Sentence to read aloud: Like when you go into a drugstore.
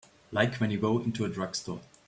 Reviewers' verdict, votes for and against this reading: accepted, 2, 0